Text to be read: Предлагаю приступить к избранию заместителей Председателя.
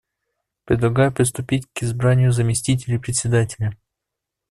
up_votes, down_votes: 2, 0